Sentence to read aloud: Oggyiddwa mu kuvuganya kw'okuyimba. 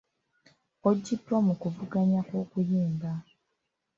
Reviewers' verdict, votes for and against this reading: accepted, 2, 0